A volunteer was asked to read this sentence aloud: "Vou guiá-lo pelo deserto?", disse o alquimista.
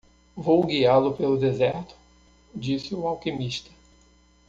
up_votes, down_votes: 2, 0